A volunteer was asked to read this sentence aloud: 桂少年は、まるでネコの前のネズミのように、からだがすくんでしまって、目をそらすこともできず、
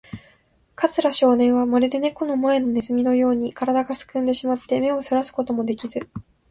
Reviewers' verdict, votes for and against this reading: accepted, 30, 6